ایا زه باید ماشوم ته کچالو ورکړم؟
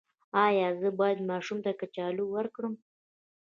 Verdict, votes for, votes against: rejected, 1, 2